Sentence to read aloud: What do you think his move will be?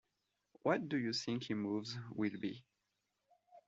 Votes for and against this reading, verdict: 1, 2, rejected